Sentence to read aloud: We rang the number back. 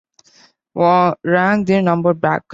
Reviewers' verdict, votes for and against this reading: rejected, 0, 2